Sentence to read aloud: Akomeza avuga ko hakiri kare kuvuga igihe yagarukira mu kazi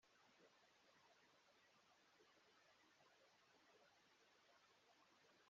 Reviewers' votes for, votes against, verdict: 0, 3, rejected